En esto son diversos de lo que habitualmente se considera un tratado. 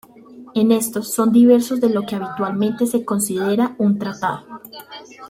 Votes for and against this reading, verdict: 2, 0, accepted